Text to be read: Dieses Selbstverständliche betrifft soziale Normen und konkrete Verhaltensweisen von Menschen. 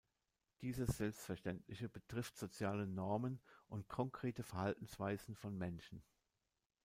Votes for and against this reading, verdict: 2, 1, accepted